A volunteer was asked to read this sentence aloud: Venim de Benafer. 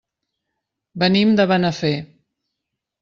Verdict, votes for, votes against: accepted, 3, 0